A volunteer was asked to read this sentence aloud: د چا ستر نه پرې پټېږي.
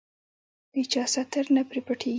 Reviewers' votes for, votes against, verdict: 0, 2, rejected